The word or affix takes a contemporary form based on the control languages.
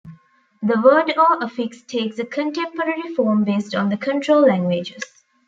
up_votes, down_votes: 2, 1